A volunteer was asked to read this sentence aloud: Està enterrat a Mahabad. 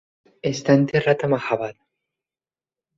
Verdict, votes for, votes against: accepted, 3, 0